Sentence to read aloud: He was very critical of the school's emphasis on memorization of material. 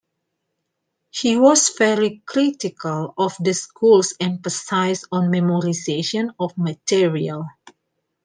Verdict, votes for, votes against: accepted, 2, 0